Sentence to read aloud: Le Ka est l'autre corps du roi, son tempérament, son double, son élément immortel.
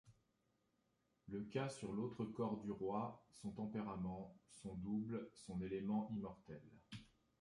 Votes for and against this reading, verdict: 0, 2, rejected